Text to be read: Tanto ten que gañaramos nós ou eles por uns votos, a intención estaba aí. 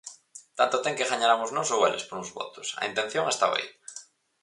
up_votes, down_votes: 4, 0